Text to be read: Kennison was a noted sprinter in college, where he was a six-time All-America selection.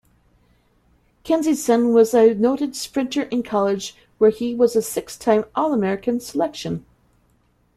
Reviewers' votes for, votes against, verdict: 0, 2, rejected